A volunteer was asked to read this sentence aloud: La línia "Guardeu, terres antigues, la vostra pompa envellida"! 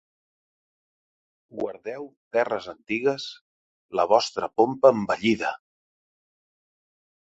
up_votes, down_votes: 0, 2